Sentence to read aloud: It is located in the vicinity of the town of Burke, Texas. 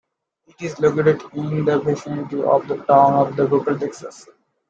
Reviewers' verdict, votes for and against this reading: rejected, 0, 2